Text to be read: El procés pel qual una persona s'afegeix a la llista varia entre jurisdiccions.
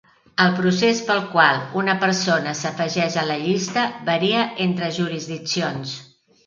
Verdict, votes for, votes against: accepted, 3, 0